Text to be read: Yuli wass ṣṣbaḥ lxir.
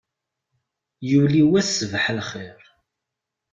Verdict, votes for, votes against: accepted, 2, 0